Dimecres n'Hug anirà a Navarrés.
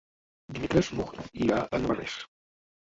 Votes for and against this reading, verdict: 0, 2, rejected